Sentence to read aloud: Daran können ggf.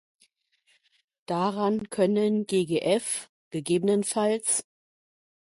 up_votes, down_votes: 1, 2